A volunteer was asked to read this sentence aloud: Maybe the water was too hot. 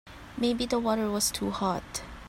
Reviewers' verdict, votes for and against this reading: accepted, 3, 0